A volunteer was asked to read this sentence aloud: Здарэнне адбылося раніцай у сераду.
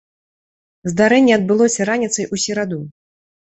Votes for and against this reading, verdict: 2, 0, accepted